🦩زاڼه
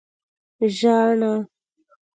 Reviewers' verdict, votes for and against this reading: rejected, 1, 2